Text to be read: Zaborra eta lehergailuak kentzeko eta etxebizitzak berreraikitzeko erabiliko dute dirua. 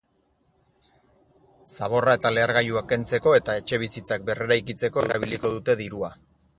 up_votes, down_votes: 4, 0